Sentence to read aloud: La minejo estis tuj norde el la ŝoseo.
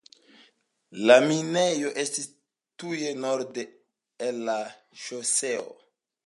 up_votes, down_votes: 2, 0